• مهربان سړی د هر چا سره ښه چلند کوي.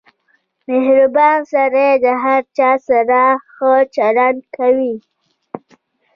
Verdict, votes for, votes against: rejected, 0, 2